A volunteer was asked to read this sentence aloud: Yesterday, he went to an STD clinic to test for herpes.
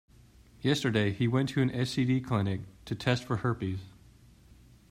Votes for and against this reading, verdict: 2, 0, accepted